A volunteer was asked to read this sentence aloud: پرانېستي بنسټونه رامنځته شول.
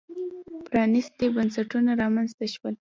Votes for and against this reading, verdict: 0, 2, rejected